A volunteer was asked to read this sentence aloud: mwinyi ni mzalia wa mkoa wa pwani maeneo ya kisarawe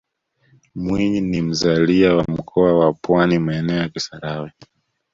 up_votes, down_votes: 2, 0